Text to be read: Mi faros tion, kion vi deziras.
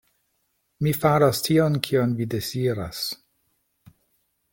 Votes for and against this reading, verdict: 2, 0, accepted